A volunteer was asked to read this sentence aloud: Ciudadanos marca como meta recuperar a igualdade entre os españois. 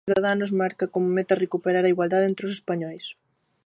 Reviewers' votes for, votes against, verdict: 0, 2, rejected